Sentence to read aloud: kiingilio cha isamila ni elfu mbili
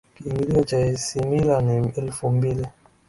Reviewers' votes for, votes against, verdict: 0, 2, rejected